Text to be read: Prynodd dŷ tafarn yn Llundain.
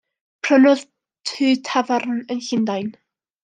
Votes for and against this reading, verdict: 1, 2, rejected